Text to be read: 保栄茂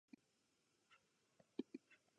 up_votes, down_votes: 0, 2